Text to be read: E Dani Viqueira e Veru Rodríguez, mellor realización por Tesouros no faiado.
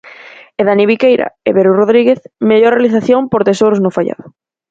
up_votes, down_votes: 4, 0